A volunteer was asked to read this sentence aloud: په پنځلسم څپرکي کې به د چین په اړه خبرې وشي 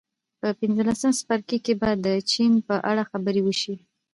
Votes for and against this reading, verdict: 1, 2, rejected